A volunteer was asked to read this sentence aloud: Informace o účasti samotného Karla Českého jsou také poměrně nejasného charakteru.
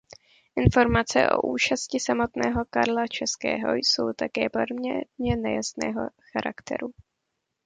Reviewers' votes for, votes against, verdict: 1, 2, rejected